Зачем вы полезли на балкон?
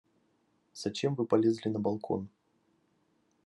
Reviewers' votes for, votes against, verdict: 2, 0, accepted